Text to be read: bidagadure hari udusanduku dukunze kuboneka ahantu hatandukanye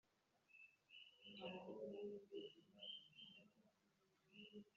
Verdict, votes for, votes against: rejected, 1, 2